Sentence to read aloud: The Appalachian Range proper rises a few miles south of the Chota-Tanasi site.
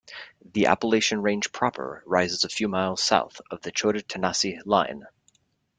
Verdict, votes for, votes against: rejected, 0, 2